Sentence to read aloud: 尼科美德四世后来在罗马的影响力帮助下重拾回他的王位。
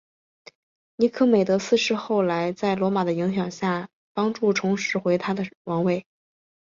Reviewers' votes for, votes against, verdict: 7, 0, accepted